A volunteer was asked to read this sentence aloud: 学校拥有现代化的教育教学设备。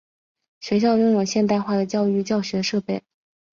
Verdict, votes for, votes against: rejected, 1, 2